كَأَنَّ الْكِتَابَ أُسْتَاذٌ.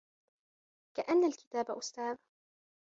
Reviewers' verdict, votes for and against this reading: accepted, 2, 0